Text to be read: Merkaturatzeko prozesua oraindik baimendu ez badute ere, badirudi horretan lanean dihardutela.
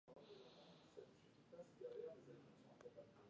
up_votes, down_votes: 0, 2